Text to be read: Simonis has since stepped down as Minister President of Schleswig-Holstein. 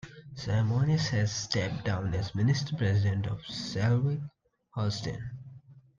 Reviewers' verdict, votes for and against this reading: accepted, 2, 1